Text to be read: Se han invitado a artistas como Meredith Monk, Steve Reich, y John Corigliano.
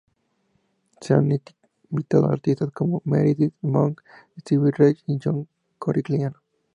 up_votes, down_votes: 0, 2